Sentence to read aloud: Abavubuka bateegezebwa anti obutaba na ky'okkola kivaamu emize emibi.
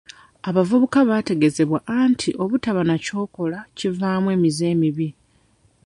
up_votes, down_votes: 0, 2